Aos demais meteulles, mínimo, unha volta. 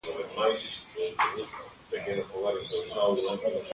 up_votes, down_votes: 0, 2